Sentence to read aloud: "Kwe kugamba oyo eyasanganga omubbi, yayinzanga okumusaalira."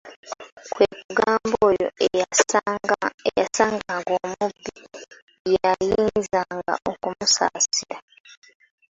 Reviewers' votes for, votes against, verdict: 0, 2, rejected